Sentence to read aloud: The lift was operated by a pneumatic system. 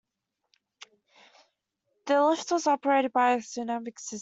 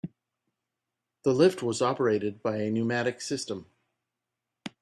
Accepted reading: second